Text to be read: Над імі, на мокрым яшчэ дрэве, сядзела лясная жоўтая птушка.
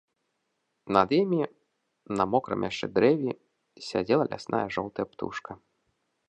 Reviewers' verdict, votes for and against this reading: accepted, 3, 1